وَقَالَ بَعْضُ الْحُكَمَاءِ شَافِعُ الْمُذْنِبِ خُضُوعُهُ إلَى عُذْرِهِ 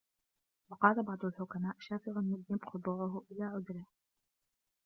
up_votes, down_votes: 2, 1